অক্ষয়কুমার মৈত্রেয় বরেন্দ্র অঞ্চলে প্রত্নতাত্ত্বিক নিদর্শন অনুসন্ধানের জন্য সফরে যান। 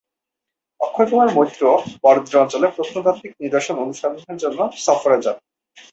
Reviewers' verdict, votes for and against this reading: rejected, 2, 4